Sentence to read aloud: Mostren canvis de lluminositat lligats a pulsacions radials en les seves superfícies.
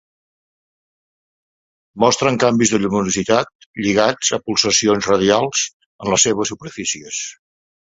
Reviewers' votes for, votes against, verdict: 2, 0, accepted